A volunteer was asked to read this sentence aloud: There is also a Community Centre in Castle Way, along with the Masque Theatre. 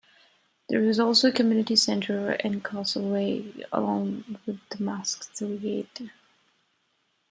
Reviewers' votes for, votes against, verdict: 4, 5, rejected